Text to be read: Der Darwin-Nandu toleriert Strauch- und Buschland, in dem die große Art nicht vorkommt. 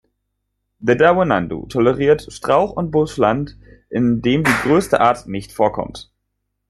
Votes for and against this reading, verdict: 0, 2, rejected